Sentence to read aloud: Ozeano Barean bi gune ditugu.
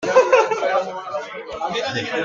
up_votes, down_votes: 0, 2